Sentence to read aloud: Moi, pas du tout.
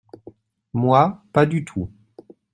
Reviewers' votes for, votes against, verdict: 2, 0, accepted